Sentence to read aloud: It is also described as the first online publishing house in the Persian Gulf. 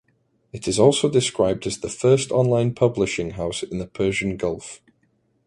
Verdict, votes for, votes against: accepted, 2, 0